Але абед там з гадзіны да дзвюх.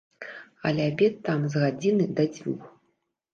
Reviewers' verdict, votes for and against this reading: accepted, 2, 0